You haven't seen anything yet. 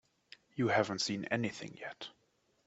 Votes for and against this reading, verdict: 2, 0, accepted